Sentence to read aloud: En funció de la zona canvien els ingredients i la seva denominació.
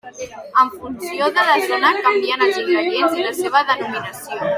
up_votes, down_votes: 1, 2